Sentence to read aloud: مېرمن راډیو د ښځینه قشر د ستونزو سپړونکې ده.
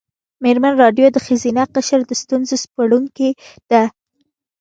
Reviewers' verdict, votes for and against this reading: accepted, 2, 0